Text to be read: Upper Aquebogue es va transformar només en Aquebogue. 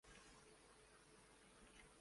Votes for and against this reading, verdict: 0, 2, rejected